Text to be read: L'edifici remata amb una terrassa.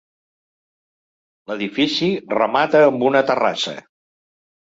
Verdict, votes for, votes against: accepted, 3, 0